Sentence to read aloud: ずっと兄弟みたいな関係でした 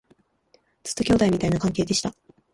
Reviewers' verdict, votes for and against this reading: rejected, 0, 2